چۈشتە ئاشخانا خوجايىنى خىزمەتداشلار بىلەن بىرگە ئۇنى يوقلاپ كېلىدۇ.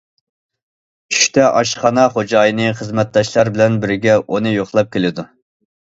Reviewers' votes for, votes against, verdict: 2, 0, accepted